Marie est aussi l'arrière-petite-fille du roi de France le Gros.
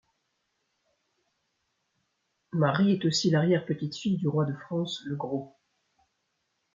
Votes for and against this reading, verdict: 2, 0, accepted